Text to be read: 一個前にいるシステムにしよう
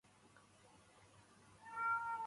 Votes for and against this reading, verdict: 0, 2, rejected